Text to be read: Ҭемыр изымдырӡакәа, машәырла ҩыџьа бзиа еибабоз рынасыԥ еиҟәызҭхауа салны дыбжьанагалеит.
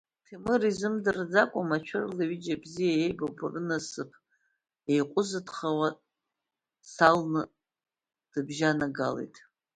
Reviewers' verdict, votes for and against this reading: rejected, 0, 2